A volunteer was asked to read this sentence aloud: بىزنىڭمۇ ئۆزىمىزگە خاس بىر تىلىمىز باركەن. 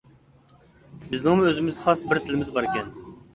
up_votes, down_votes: 2, 0